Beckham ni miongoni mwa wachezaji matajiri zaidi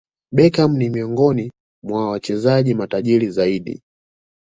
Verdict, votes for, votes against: accepted, 2, 0